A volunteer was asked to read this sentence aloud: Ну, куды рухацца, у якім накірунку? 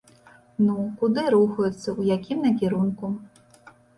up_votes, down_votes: 2, 1